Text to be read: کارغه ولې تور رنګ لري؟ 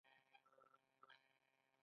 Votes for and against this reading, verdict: 2, 1, accepted